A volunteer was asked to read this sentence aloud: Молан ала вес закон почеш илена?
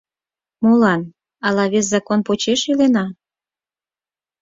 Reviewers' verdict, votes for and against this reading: accepted, 4, 0